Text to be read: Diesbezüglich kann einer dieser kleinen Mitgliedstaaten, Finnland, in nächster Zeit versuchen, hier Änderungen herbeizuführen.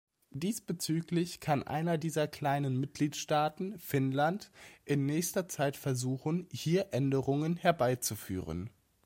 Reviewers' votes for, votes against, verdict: 2, 0, accepted